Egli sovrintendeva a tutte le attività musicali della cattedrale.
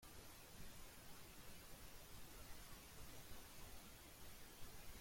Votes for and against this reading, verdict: 0, 3, rejected